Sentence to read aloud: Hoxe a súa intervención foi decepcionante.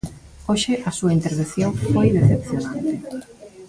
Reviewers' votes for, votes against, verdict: 1, 2, rejected